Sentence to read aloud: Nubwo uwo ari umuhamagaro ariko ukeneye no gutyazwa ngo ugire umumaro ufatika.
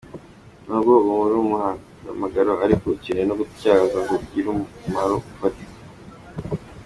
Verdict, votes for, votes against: accepted, 2, 0